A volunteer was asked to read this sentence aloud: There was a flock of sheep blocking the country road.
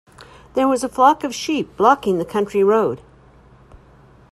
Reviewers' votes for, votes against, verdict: 2, 0, accepted